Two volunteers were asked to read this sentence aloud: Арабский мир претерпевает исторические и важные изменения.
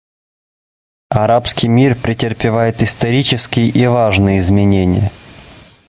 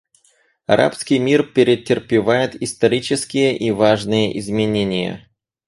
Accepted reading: first